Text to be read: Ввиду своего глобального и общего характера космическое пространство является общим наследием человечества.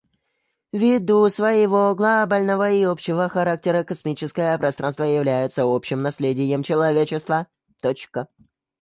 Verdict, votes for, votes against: rejected, 1, 2